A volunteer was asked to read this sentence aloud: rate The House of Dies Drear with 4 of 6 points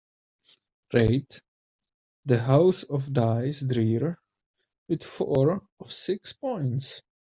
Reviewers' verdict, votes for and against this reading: rejected, 0, 2